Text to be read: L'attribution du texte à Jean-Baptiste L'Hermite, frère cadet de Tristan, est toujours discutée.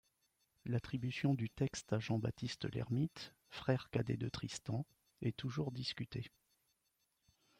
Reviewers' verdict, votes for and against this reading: accepted, 2, 0